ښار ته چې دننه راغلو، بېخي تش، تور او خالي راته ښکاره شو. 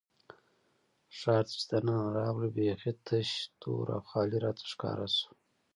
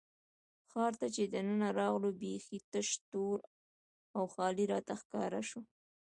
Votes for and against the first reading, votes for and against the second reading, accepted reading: 0, 2, 2, 0, second